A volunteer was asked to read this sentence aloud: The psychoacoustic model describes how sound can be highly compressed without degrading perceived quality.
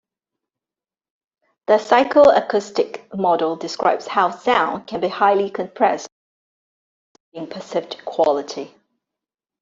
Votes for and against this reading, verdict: 0, 2, rejected